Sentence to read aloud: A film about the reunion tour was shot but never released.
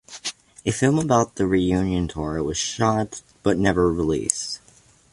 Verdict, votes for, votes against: accepted, 2, 0